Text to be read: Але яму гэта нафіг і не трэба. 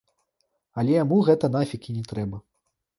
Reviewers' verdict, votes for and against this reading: rejected, 1, 2